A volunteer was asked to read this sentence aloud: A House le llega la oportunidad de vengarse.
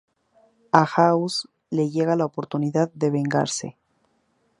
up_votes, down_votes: 2, 0